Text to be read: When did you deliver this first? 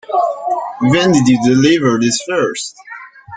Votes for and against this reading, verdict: 2, 0, accepted